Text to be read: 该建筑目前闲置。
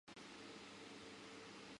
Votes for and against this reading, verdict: 0, 2, rejected